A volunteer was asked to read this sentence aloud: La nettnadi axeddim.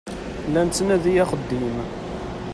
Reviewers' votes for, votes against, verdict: 2, 1, accepted